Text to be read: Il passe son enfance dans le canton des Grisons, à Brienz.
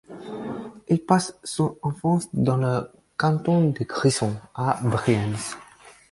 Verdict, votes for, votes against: accepted, 4, 2